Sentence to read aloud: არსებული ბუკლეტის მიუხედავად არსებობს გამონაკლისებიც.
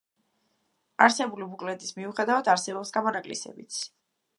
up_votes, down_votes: 0, 2